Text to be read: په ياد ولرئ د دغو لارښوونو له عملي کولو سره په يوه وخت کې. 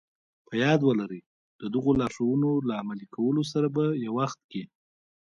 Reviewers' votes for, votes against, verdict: 1, 2, rejected